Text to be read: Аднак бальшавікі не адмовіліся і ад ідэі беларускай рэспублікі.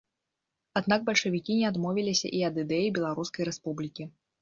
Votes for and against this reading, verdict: 2, 0, accepted